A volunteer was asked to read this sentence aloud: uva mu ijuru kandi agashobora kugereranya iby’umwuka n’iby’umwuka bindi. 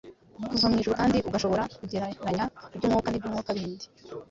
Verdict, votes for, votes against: accepted, 2, 1